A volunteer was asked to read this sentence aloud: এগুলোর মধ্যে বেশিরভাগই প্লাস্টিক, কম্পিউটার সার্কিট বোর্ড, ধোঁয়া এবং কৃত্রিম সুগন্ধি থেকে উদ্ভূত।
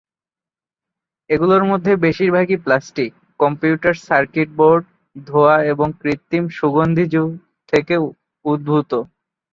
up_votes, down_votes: 1, 2